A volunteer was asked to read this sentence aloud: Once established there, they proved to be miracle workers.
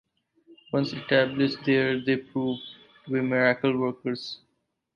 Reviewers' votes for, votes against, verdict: 2, 0, accepted